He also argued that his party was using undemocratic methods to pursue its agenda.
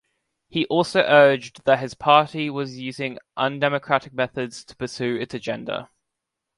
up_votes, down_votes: 2, 3